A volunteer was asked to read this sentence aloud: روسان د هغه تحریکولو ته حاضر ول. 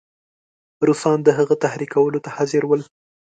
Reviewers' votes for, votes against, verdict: 3, 0, accepted